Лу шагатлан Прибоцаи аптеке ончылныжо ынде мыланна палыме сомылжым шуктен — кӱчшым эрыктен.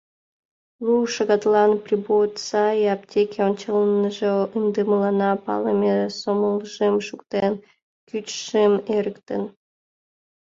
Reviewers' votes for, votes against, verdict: 0, 2, rejected